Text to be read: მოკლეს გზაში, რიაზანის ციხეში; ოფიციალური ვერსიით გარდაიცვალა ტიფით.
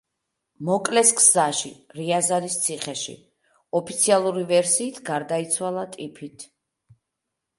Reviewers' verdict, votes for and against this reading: accepted, 2, 0